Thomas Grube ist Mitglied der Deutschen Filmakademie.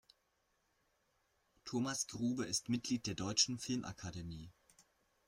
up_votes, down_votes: 1, 2